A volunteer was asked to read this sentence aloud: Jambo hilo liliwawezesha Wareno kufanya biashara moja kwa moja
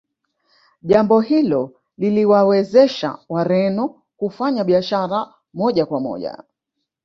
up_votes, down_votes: 1, 2